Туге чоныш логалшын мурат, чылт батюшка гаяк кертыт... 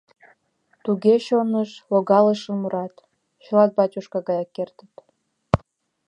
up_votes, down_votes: 2, 0